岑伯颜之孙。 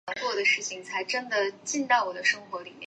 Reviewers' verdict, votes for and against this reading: rejected, 0, 3